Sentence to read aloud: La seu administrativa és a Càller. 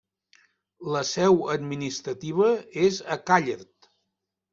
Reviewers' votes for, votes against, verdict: 2, 0, accepted